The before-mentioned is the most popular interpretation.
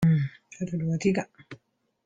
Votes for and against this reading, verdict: 0, 2, rejected